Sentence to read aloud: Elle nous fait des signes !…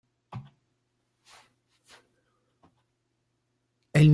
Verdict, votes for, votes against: rejected, 0, 2